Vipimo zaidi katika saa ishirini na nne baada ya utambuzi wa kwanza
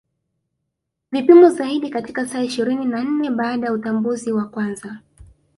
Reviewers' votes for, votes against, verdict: 8, 0, accepted